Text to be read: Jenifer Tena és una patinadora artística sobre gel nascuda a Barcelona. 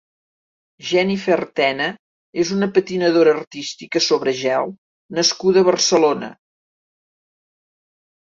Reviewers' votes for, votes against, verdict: 2, 0, accepted